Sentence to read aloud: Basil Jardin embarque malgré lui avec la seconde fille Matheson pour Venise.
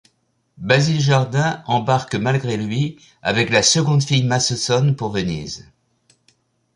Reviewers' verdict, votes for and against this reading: rejected, 1, 2